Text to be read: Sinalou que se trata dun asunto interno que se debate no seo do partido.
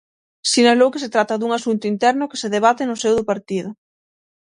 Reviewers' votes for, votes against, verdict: 6, 0, accepted